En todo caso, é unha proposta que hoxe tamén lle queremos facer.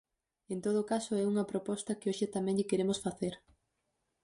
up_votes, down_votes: 4, 0